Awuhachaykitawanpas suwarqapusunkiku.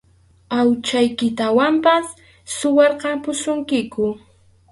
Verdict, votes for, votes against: rejected, 2, 2